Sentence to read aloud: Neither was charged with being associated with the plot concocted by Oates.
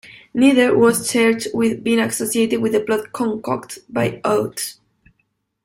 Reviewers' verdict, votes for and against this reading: rejected, 0, 2